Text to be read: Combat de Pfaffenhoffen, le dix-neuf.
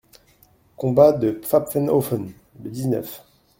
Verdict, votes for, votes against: rejected, 0, 2